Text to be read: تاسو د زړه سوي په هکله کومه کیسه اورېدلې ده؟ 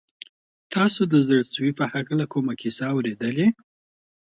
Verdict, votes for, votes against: accepted, 2, 0